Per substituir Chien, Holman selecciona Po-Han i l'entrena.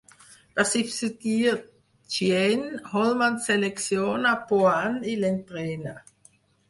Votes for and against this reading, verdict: 2, 4, rejected